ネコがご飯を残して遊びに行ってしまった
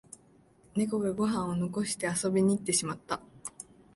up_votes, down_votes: 2, 0